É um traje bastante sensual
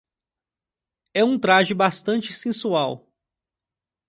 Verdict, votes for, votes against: accepted, 2, 0